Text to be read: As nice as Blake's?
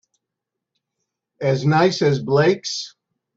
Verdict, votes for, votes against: accepted, 2, 0